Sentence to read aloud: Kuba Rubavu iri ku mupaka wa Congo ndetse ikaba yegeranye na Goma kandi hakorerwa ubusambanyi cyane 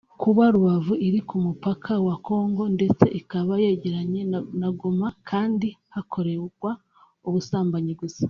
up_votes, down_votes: 1, 2